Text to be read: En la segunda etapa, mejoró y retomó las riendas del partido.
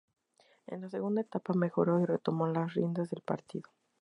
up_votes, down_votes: 4, 0